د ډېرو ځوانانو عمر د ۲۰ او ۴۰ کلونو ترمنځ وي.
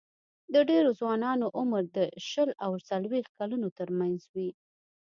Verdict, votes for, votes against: rejected, 0, 2